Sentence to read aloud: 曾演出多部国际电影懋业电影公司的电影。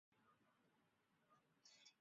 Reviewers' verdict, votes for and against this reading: rejected, 0, 2